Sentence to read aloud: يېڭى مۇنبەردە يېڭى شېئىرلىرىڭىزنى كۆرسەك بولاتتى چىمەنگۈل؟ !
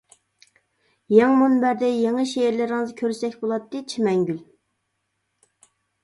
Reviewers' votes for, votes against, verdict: 0, 2, rejected